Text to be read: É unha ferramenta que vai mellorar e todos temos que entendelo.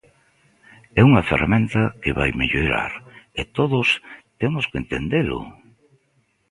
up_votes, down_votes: 2, 0